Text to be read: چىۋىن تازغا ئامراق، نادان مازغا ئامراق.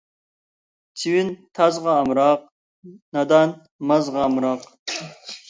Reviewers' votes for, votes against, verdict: 2, 0, accepted